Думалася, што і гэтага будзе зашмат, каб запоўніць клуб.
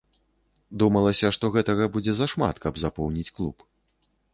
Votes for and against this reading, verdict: 1, 2, rejected